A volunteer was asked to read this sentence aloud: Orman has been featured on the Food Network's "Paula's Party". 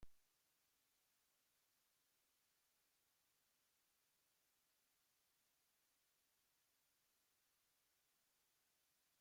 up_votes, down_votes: 0, 2